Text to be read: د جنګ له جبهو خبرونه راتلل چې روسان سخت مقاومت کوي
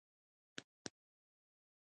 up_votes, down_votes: 1, 2